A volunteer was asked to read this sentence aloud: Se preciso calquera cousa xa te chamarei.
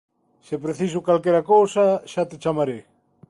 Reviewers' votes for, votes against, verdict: 2, 0, accepted